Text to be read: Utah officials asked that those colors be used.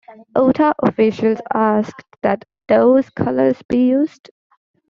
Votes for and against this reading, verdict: 2, 0, accepted